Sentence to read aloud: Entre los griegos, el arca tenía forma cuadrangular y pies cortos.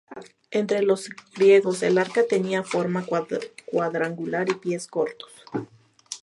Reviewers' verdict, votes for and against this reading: rejected, 0, 2